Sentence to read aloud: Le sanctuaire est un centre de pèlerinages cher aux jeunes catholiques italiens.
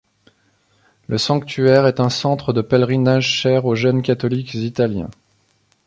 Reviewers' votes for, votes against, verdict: 2, 0, accepted